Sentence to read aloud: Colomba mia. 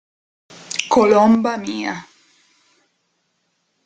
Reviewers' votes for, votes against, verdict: 2, 0, accepted